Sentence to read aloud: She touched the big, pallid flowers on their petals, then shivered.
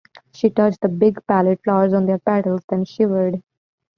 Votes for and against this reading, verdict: 2, 0, accepted